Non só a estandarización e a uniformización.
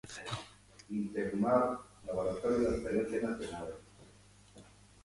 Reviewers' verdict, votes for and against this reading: rejected, 0, 2